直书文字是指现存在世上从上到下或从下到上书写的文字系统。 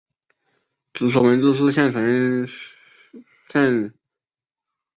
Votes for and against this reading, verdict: 0, 2, rejected